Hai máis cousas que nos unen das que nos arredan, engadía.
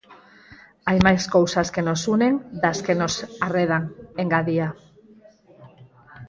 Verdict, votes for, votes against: rejected, 0, 4